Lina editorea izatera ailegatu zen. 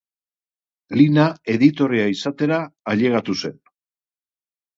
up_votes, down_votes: 2, 0